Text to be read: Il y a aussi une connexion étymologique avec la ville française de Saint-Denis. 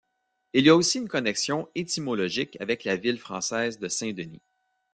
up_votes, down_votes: 2, 0